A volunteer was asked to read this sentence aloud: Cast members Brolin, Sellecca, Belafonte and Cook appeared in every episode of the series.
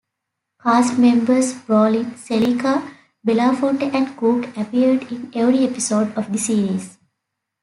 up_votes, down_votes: 2, 0